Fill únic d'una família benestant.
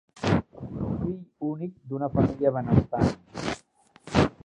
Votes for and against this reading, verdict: 1, 2, rejected